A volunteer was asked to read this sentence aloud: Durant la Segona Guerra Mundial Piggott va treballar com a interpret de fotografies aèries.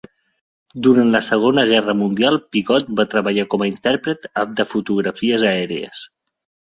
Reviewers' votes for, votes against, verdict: 1, 2, rejected